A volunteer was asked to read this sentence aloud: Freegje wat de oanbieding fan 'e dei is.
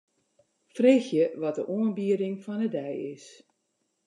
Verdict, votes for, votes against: accepted, 2, 0